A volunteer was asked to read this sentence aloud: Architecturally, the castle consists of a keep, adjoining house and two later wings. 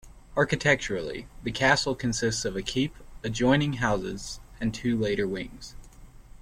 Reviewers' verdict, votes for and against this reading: rejected, 1, 2